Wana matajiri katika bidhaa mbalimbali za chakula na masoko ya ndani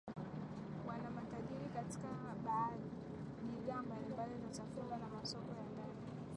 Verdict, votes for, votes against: rejected, 4, 5